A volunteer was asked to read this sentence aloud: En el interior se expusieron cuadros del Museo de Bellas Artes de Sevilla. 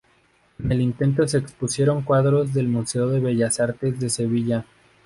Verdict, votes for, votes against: rejected, 0, 2